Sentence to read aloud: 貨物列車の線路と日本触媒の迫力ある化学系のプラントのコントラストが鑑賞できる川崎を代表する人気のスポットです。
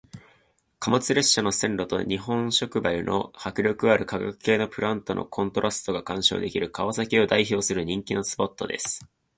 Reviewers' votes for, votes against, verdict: 2, 0, accepted